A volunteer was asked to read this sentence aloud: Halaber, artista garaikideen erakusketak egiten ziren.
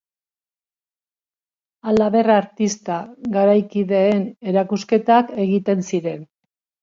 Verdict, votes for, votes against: accepted, 2, 1